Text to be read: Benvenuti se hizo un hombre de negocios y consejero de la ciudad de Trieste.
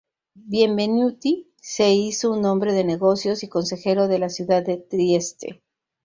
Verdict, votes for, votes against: rejected, 0, 2